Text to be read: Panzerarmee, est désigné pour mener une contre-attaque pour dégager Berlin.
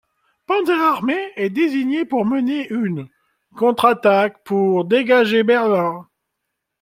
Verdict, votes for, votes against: rejected, 1, 2